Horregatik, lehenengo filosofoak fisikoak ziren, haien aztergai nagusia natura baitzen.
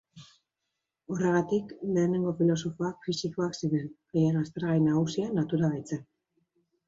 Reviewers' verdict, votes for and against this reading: accepted, 2, 0